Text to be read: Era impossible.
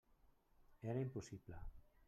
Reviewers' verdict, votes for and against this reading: accepted, 3, 1